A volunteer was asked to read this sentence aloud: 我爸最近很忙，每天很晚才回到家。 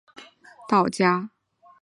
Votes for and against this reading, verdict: 0, 3, rejected